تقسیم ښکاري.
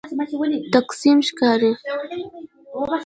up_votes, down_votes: 2, 1